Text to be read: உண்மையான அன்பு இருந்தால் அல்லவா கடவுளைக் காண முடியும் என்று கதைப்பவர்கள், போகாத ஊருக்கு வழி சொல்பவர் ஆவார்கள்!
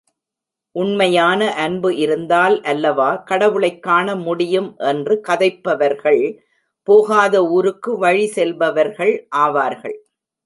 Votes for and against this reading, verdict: 0, 2, rejected